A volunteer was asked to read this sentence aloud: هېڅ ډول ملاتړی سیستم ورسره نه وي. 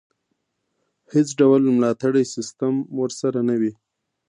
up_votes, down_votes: 2, 0